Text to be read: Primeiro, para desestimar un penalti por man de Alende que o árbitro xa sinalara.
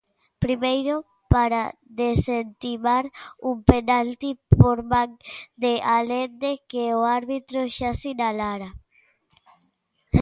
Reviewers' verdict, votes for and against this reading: rejected, 1, 2